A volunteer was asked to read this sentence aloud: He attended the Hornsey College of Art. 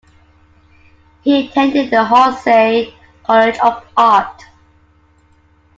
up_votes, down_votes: 1, 2